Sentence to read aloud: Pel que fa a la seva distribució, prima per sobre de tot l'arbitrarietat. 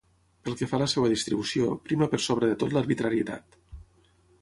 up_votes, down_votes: 9, 0